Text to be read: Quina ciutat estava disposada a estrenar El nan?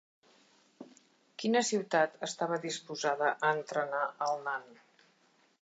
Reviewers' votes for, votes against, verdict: 1, 2, rejected